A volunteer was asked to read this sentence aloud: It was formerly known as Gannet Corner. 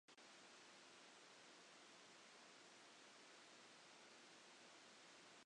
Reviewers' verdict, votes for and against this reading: rejected, 0, 2